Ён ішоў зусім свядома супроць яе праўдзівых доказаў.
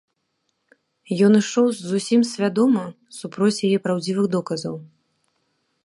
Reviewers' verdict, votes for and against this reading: accepted, 2, 0